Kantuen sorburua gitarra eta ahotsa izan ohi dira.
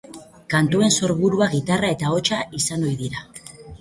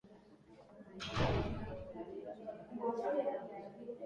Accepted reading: first